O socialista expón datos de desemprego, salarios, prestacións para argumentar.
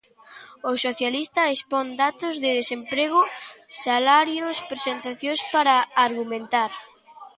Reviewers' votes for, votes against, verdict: 0, 2, rejected